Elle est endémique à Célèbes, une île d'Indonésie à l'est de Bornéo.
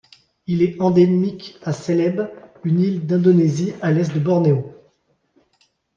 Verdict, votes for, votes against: accepted, 2, 0